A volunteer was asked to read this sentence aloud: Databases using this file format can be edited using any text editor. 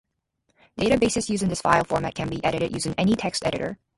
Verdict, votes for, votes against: rejected, 0, 2